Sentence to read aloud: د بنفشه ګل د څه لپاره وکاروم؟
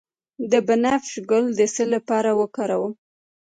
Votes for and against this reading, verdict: 1, 2, rejected